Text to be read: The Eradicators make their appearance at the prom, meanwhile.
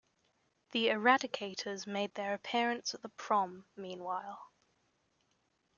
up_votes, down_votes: 2, 0